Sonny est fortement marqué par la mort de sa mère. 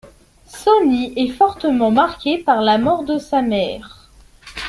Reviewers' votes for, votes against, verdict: 0, 2, rejected